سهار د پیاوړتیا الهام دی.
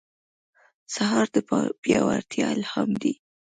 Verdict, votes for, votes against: accepted, 2, 0